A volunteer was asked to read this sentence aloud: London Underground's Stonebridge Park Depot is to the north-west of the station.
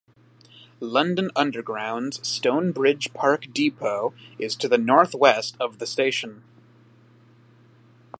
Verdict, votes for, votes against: accepted, 2, 0